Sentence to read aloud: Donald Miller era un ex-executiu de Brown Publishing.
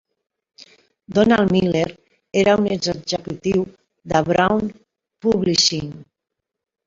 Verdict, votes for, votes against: rejected, 0, 2